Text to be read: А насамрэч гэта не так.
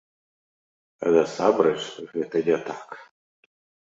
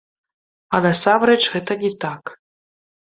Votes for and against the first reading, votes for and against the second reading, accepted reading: 2, 1, 0, 2, first